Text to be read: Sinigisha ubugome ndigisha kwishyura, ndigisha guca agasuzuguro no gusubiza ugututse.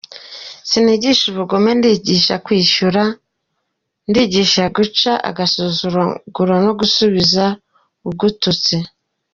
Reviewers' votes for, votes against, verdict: 0, 2, rejected